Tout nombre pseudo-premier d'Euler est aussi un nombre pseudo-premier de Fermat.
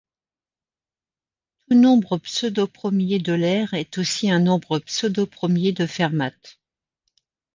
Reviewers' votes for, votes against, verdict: 0, 2, rejected